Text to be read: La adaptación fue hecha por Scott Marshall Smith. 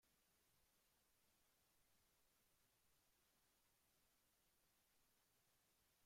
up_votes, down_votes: 0, 2